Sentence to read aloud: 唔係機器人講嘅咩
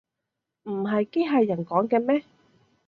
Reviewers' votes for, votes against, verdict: 2, 1, accepted